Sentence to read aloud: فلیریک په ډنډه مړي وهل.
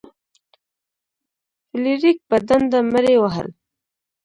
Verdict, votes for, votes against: rejected, 1, 2